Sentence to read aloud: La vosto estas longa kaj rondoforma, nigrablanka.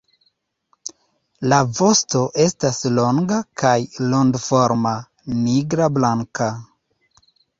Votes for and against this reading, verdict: 2, 0, accepted